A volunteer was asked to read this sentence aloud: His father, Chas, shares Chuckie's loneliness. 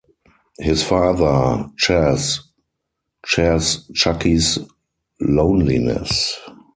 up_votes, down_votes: 4, 0